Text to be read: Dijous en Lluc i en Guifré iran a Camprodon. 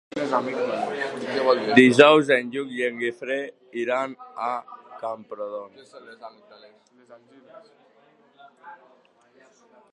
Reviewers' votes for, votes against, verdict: 0, 2, rejected